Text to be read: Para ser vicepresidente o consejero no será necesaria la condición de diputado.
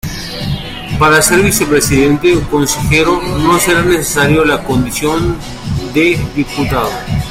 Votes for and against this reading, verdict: 2, 0, accepted